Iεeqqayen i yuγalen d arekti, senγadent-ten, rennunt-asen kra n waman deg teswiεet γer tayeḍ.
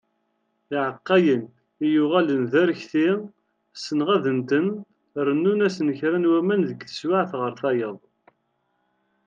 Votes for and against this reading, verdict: 2, 0, accepted